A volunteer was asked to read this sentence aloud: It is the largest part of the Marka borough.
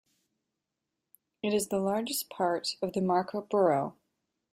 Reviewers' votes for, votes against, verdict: 2, 0, accepted